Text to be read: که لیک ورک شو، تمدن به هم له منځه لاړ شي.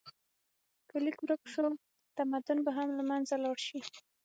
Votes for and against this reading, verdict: 6, 0, accepted